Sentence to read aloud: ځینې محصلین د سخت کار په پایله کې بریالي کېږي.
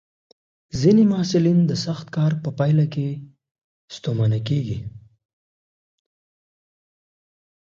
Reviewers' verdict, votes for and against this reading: rejected, 1, 2